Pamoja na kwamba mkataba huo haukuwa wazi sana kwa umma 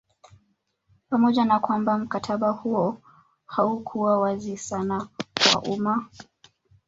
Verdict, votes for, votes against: rejected, 1, 2